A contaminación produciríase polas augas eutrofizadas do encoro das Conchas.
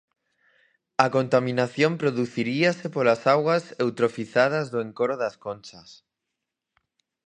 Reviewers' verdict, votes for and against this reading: rejected, 0, 4